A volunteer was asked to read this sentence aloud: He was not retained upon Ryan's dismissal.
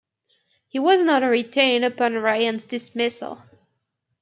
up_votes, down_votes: 1, 2